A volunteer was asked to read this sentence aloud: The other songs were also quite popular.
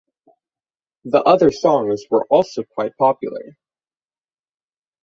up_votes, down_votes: 6, 0